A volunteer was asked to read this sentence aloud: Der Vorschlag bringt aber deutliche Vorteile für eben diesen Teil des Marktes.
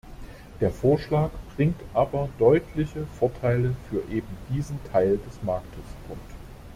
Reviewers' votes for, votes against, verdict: 0, 2, rejected